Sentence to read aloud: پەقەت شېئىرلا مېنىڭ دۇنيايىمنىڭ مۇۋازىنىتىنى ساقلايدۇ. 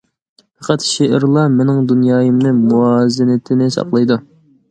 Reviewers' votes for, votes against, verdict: 0, 2, rejected